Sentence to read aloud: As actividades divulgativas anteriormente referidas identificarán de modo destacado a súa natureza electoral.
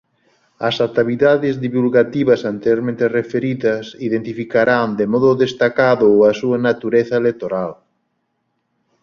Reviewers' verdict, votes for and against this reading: rejected, 0, 2